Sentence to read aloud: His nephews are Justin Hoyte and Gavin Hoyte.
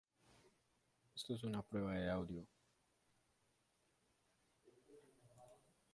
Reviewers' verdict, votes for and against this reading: rejected, 0, 2